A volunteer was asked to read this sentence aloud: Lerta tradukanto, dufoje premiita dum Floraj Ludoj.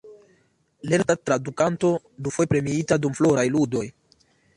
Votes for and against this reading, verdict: 3, 0, accepted